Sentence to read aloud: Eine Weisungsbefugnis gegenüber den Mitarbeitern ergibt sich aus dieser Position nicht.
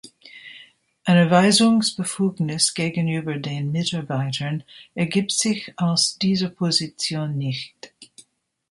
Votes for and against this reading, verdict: 1, 2, rejected